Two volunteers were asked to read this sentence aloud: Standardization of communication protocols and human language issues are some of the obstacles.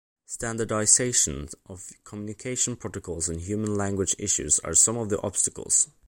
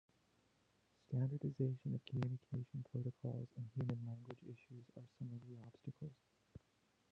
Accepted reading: first